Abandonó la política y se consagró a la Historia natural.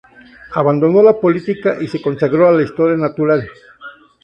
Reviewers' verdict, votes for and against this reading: accepted, 2, 0